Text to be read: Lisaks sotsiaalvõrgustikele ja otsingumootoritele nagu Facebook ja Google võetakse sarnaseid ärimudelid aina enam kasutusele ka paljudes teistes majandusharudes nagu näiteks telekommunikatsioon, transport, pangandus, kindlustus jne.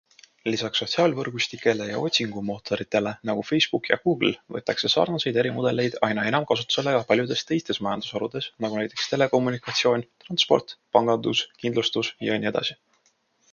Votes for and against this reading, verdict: 2, 0, accepted